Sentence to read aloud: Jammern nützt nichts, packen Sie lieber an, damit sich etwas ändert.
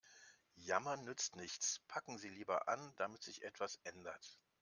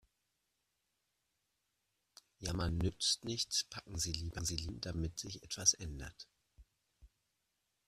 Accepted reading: first